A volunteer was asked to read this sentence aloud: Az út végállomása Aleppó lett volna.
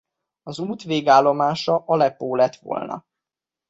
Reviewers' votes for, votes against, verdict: 2, 1, accepted